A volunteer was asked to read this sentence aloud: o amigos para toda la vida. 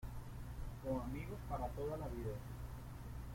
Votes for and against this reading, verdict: 0, 2, rejected